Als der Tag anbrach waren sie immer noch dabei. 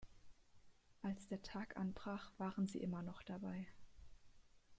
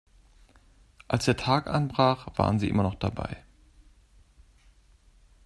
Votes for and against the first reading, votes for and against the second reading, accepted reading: 1, 2, 2, 0, second